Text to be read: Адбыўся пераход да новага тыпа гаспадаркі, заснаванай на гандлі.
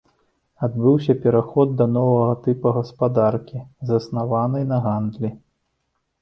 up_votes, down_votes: 2, 0